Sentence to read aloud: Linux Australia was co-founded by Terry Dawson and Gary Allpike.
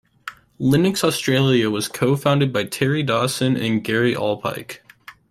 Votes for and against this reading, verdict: 2, 1, accepted